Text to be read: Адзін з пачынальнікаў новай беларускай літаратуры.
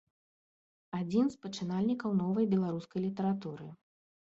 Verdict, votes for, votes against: accepted, 2, 0